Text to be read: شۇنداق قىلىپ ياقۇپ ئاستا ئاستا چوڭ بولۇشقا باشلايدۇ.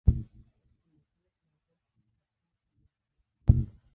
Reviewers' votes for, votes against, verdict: 0, 2, rejected